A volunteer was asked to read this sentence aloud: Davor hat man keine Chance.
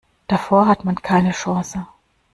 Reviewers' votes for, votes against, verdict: 2, 0, accepted